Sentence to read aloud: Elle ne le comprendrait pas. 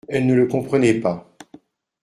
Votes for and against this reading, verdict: 0, 2, rejected